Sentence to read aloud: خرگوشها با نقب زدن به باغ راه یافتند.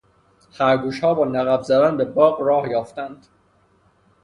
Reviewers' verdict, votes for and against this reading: accepted, 3, 0